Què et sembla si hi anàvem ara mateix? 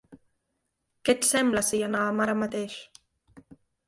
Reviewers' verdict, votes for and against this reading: accepted, 3, 1